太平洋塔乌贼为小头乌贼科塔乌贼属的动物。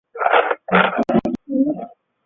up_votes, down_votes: 0, 2